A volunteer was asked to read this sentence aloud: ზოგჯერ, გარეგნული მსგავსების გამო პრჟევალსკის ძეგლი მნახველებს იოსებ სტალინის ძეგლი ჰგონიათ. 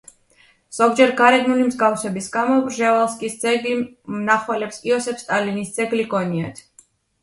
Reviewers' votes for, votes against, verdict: 2, 0, accepted